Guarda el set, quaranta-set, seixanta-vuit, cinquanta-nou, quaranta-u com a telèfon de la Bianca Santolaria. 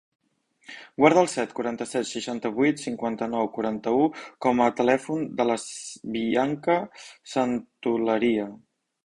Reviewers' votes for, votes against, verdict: 0, 2, rejected